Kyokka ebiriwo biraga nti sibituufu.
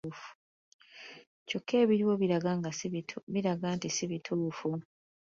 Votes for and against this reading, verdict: 1, 2, rejected